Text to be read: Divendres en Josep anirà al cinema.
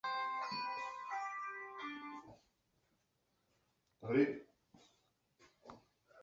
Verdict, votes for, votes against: rejected, 1, 4